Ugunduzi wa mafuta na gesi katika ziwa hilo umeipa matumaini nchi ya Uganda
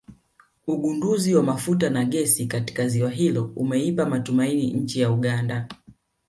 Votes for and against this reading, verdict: 9, 0, accepted